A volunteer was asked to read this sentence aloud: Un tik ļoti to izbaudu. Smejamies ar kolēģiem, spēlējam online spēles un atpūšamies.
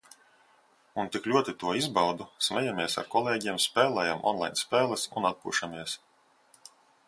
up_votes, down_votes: 2, 0